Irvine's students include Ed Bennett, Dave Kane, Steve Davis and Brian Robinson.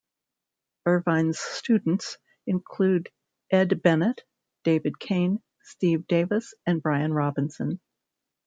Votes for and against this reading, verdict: 1, 2, rejected